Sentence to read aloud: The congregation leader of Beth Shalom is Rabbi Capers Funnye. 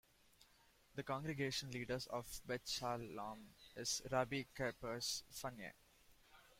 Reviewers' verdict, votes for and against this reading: rejected, 1, 2